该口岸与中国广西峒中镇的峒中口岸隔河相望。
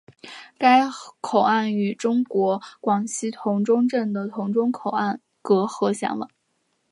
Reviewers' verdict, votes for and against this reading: rejected, 1, 2